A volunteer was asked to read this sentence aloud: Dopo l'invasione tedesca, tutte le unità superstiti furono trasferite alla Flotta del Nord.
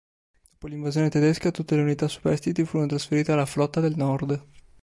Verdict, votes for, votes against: rejected, 1, 2